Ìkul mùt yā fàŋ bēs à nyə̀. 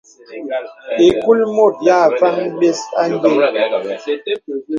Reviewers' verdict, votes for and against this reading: accepted, 2, 0